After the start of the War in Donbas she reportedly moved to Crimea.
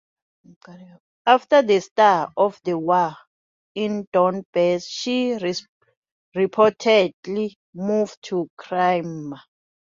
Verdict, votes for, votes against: rejected, 1, 2